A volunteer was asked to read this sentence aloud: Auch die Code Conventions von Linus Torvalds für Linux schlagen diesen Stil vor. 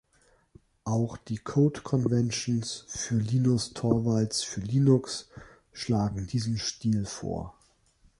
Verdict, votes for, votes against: rejected, 0, 3